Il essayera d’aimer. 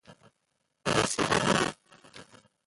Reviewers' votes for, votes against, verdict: 0, 2, rejected